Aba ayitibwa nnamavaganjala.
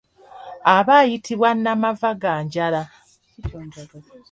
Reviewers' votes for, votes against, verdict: 2, 0, accepted